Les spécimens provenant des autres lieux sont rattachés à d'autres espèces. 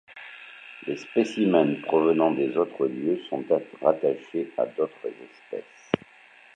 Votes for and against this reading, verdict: 0, 2, rejected